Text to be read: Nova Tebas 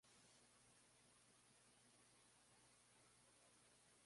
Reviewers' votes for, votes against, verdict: 0, 2, rejected